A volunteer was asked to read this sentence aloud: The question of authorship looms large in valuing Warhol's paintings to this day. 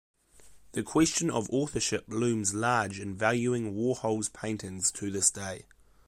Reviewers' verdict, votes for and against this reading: accepted, 2, 0